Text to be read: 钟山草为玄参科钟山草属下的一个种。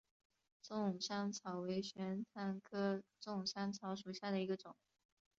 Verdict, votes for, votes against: rejected, 1, 2